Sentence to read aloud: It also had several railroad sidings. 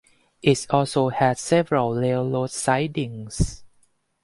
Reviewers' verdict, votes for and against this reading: accepted, 2, 0